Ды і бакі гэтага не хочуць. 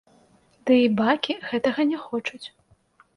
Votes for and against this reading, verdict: 0, 2, rejected